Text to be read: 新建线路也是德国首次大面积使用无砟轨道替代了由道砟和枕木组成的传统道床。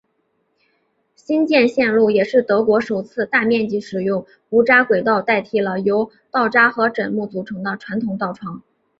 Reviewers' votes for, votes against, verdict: 3, 0, accepted